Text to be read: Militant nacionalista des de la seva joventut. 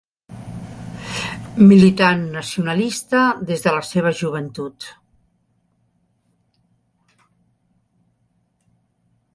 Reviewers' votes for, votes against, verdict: 2, 0, accepted